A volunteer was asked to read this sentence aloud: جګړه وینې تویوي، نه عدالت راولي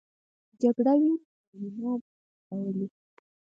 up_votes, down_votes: 2, 4